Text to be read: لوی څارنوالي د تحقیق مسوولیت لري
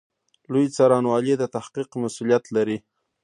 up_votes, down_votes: 0, 2